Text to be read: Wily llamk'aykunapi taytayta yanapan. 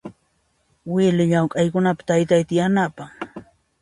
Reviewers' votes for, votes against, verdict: 2, 0, accepted